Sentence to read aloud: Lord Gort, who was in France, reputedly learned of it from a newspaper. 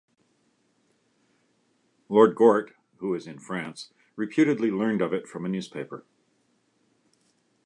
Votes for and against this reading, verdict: 2, 0, accepted